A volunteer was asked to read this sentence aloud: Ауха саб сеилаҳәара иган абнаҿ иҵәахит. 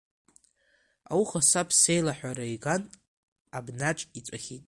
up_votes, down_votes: 3, 1